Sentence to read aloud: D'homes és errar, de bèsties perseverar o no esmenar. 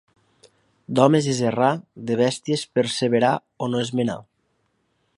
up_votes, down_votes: 2, 0